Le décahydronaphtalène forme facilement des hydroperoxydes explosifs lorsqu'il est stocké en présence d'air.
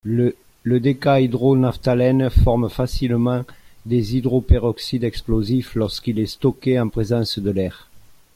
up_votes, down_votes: 1, 2